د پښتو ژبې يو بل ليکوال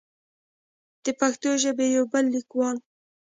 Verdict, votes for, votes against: accepted, 2, 0